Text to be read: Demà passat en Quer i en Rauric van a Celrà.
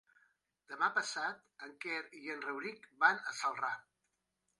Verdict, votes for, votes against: rejected, 1, 2